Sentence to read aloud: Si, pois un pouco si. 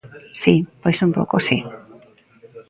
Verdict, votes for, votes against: accepted, 2, 0